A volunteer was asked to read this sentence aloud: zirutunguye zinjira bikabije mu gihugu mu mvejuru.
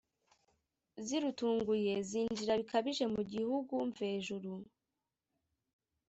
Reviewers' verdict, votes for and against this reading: rejected, 0, 2